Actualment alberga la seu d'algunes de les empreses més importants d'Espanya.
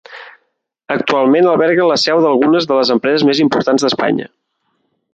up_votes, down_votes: 3, 0